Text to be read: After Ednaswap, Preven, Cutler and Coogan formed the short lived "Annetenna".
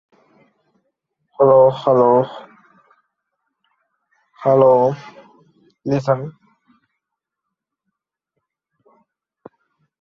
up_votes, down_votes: 0, 2